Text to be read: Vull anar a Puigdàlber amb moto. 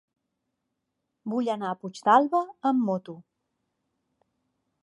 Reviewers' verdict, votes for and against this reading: accepted, 2, 0